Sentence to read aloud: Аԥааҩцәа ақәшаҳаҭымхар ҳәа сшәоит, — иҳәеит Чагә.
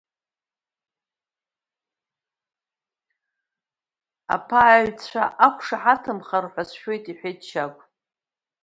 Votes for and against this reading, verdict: 0, 2, rejected